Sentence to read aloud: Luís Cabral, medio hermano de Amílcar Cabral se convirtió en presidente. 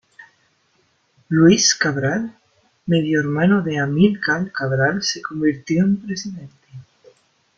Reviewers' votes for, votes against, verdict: 1, 2, rejected